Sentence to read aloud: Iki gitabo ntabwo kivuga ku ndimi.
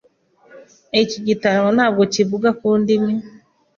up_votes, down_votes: 2, 0